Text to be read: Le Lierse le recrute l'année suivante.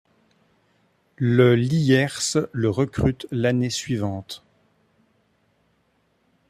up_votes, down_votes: 3, 0